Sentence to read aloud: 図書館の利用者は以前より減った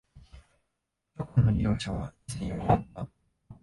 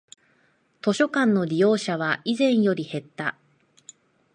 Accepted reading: second